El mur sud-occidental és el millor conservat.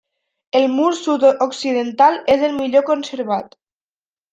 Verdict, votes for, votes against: accepted, 3, 0